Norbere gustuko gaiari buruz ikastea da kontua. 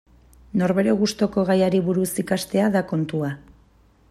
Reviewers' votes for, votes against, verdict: 2, 0, accepted